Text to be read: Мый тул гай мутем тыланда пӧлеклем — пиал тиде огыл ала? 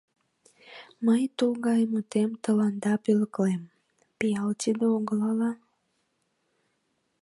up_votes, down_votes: 2, 0